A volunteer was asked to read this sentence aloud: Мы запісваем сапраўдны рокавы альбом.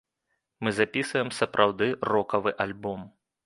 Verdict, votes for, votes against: rejected, 0, 2